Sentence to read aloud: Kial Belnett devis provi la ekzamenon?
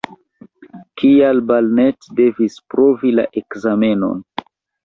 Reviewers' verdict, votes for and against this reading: rejected, 0, 2